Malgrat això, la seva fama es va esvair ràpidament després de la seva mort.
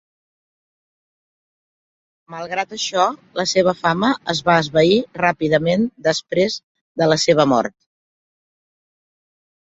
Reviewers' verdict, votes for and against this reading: accepted, 3, 0